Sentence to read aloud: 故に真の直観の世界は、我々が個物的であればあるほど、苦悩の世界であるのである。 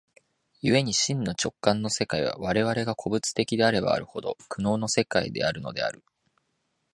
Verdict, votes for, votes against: accepted, 3, 0